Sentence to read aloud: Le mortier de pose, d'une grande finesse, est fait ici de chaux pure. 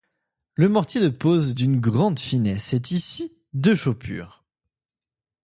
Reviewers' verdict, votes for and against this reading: rejected, 0, 2